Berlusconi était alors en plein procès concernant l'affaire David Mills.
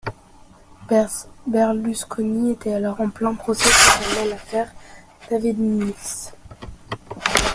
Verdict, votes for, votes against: rejected, 0, 2